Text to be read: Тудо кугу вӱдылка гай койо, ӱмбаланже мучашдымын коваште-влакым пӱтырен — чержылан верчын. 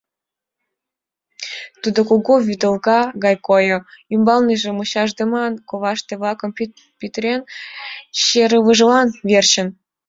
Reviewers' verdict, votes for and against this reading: accepted, 2, 1